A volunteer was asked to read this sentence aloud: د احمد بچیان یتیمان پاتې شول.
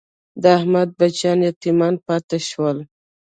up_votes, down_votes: 0, 2